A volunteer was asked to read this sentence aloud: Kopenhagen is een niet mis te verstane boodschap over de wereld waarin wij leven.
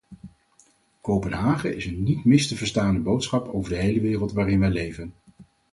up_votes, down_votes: 2, 2